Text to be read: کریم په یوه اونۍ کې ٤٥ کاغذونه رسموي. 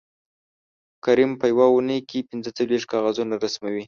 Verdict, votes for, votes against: rejected, 0, 2